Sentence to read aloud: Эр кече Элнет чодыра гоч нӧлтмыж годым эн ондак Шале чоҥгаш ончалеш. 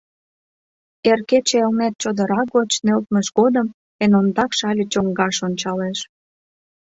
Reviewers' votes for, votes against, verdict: 3, 0, accepted